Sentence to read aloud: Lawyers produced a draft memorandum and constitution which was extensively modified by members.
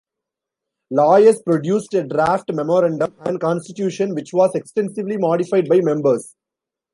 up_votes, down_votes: 0, 2